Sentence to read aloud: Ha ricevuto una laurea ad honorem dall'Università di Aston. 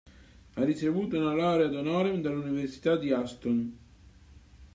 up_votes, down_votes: 2, 0